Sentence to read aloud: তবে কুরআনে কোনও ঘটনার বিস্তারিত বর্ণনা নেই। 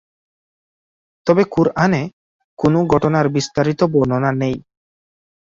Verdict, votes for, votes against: rejected, 2, 2